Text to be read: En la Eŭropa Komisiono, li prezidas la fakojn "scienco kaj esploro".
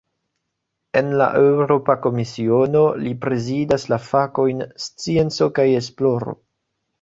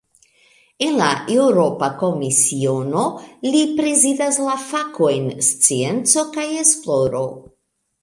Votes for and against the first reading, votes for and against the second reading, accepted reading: 0, 2, 2, 0, second